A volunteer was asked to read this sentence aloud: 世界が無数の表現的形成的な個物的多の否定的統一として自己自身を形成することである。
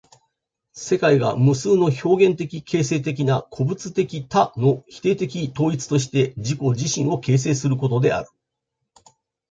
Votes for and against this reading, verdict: 2, 0, accepted